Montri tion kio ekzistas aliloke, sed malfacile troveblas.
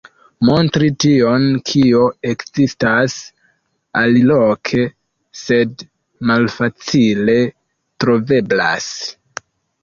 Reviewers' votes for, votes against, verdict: 1, 2, rejected